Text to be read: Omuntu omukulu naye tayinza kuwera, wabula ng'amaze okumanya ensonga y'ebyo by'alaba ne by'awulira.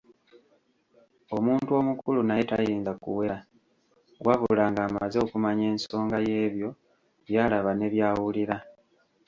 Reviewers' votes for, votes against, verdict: 1, 2, rejected